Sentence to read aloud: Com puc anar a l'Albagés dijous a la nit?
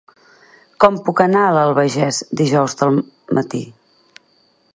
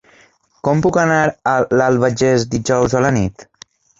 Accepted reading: second